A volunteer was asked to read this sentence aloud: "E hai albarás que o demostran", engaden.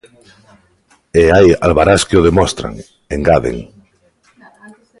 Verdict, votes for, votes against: accepted, 2, 1